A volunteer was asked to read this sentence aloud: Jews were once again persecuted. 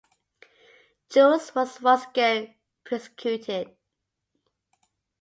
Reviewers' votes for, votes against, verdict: 0, 2, rejected